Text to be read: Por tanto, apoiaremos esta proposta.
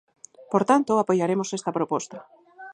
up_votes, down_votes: 4, 0